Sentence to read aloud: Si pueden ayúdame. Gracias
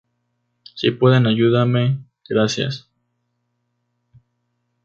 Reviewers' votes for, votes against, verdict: 2, 0, accepted